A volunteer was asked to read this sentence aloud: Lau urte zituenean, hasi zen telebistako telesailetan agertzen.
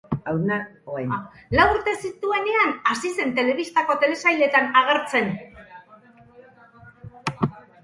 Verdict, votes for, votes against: rejected, 2, 4